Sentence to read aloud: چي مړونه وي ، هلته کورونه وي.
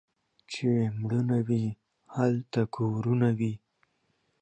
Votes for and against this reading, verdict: 0, 2, rejected